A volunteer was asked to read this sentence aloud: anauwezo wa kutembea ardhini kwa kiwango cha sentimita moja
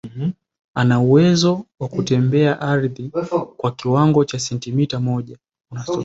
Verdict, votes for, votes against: rejected, 0, 2